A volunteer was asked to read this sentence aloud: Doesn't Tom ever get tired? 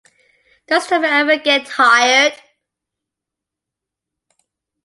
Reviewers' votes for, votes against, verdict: 2, 1, accepted